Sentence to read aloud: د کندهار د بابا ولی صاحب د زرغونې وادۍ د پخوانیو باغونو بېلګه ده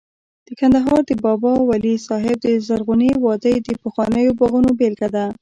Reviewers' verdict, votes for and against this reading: rejected, 0, 2